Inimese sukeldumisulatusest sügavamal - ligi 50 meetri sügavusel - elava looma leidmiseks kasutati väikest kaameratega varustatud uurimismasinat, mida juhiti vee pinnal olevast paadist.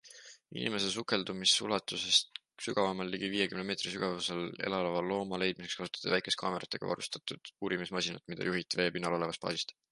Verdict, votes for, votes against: rejected, 0, 2